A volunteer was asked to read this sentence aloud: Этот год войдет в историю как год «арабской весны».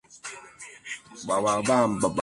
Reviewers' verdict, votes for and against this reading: rejected, 0, 2